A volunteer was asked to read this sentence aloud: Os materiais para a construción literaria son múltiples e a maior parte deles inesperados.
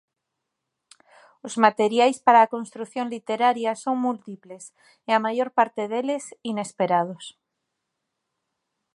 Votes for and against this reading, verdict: 2, 0, accepted